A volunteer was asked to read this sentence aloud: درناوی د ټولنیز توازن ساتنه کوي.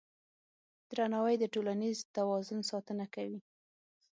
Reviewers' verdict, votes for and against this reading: accepted, 6, 0